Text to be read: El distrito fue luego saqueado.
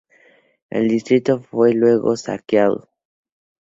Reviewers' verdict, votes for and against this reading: accepted, 2, 0